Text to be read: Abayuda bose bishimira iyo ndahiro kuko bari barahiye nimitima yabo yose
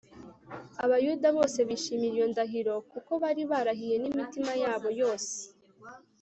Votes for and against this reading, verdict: 3, 0, accepted